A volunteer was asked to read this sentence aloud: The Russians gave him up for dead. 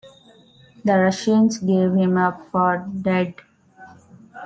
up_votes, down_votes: 1, 2